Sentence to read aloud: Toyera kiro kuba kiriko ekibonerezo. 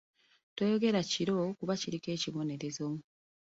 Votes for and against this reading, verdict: 2, 0, accepted